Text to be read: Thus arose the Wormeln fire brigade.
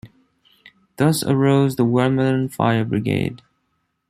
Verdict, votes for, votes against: accepted, 2, 0